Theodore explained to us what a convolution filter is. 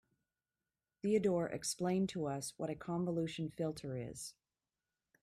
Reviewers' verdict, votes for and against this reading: accepted, 2, 0